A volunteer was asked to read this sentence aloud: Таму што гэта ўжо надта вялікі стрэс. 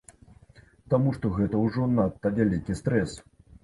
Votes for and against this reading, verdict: 2, 0, accepted